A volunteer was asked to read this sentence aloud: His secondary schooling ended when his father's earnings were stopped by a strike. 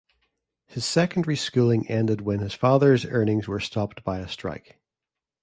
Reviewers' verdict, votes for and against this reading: accepted, 2, 0